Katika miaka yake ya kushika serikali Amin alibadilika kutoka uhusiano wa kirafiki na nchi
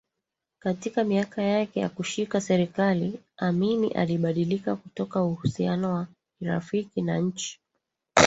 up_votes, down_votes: 1, 2